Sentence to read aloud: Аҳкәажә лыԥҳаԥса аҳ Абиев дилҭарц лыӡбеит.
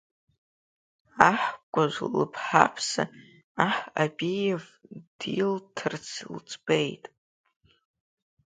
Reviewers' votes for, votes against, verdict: 2, 1, accepted